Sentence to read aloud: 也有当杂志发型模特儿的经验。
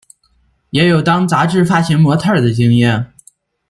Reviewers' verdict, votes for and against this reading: accepted, 2, 0